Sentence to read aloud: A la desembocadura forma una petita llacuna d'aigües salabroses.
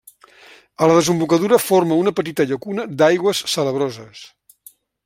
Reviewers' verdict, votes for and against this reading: accepted, 3, 0